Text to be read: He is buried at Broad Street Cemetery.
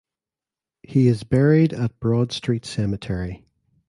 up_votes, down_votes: 2, 0